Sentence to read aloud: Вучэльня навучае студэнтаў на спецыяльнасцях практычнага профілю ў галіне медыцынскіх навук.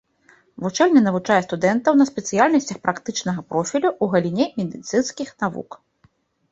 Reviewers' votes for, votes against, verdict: 2, 0, accepted